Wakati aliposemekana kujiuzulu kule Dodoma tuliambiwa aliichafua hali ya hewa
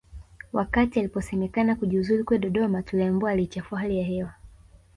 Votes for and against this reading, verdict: 2, 0, accepted